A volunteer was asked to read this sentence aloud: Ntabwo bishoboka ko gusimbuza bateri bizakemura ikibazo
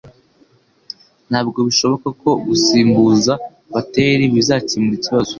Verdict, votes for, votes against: accepted, 2, 1